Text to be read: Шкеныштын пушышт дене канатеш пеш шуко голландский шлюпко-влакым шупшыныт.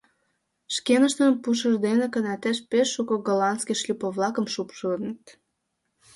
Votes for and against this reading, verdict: 0, 2, rejected